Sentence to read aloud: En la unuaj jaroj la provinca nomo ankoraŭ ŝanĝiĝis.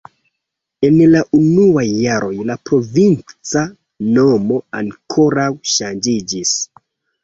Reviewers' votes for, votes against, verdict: 2, 1, accepted